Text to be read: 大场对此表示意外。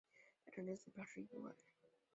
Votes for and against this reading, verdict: 1, 2, rejected